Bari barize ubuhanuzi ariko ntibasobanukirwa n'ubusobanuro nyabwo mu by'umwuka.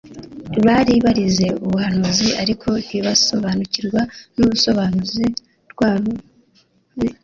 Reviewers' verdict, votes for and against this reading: rejected, 0, 3